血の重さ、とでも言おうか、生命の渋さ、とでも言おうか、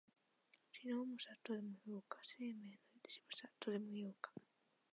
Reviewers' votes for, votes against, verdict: 1, 2, rejected